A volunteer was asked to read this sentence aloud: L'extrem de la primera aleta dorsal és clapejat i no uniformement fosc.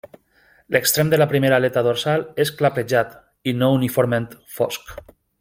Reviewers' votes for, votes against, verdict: 1, 2, rejected